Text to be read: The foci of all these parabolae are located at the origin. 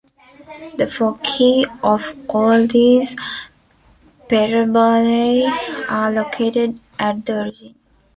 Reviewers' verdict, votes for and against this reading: rejected, 1, 2